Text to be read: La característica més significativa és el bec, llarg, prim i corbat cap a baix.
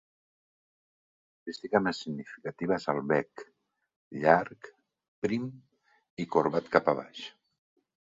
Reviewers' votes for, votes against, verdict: 0, 2, rejected